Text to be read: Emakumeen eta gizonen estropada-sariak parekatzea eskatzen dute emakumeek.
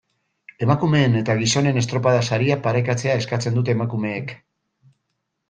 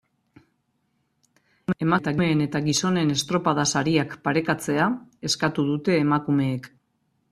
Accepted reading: first